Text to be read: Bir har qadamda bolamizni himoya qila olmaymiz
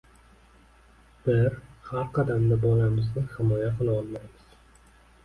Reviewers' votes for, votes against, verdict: 1, 2, rejected